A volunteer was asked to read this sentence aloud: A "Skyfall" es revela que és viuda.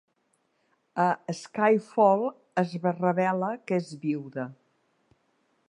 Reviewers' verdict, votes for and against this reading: rejected, 1, 2